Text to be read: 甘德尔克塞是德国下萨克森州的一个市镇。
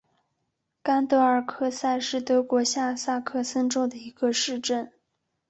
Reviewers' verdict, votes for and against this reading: accepted, 2, 0